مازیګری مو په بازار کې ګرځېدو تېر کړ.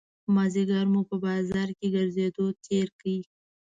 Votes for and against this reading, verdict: 2, 1, accepted